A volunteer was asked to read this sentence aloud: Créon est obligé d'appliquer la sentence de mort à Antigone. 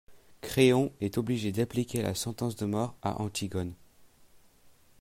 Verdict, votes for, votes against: accepted, 2, 0